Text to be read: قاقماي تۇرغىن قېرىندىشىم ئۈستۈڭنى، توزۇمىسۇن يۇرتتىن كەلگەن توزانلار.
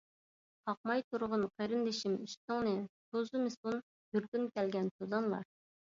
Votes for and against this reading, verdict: 1, 2, rejected